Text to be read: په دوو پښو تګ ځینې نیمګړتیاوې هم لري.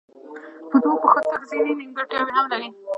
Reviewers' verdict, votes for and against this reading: rejected, 0, 2